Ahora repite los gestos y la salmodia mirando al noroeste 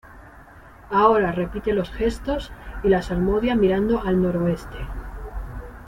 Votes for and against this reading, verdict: 2, 0, accepted